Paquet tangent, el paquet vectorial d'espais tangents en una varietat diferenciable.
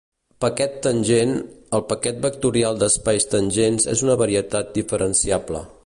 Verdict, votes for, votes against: rejected, 1, 3